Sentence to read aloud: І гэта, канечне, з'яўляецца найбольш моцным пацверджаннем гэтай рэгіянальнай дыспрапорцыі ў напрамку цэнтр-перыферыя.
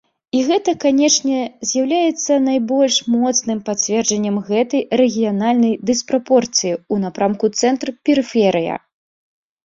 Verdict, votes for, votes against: rejected, 1, 2